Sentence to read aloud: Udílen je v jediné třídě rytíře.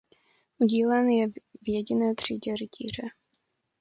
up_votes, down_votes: 1, 2